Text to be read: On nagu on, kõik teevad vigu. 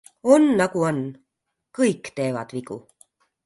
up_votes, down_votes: 2, 0